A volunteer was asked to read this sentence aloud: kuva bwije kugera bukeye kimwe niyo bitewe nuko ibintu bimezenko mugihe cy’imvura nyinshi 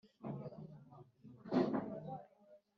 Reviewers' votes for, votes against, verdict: 1, 2, rejected